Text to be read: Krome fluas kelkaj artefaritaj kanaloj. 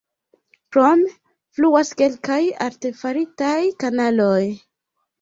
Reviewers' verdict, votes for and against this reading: accepted, 2, 1